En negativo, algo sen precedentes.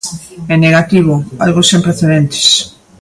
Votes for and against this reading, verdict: 2, 0, accepted